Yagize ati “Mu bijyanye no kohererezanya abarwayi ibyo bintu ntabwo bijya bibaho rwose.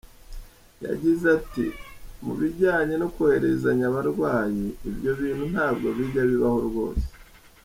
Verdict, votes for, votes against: accepted, 2, 0